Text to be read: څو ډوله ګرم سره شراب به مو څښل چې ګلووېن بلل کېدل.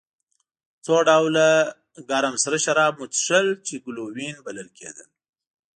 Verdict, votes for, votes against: accepted, 2, 1